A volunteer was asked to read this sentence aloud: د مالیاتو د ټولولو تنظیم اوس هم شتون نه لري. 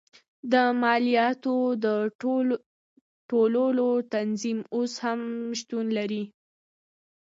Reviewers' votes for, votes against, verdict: 2, 0, accepted